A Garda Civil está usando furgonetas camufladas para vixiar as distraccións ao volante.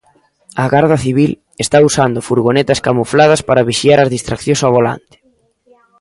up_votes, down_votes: 1, 2